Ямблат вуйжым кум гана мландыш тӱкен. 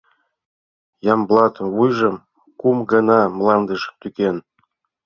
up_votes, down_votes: 2, 0